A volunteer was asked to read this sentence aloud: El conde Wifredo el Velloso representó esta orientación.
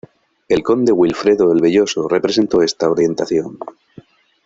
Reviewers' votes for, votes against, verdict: 0, 2, rejected